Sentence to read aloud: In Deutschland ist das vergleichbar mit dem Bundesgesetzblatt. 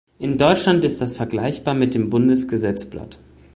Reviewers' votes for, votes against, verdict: 2, 0, accepted